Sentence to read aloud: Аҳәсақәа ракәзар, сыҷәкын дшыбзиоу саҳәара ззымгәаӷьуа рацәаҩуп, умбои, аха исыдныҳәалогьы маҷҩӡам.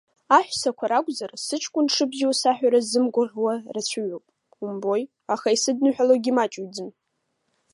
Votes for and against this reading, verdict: 2, 0, accepted